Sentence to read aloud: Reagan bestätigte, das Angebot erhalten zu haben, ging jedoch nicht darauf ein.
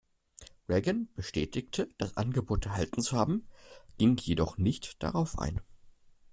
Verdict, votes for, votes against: accepted, 2, 0